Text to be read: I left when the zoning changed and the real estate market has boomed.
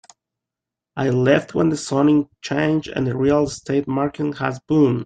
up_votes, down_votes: 1, 2